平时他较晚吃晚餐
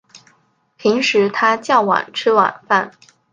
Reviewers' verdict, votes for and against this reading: rejected, 1, 3